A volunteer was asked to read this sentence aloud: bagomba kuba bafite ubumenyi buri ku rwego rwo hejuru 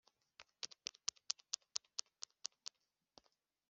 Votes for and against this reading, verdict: 0, 2, rejected